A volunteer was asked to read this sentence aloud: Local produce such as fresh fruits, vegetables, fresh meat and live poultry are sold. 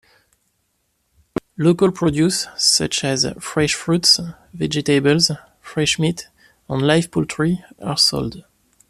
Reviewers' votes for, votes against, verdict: 2, 0, accepted